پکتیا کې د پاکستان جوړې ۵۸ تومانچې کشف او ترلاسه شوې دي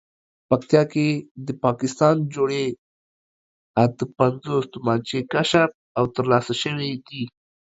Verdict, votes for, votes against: rejected, 0, 2